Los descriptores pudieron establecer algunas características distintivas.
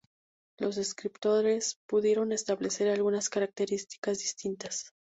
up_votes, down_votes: 0, 2